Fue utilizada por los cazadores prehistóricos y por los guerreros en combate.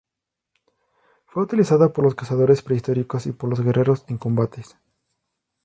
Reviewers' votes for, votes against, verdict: 2, 2, rejected